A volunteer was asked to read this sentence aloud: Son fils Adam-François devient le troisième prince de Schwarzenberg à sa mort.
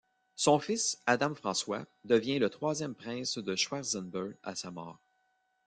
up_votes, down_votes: 2, 1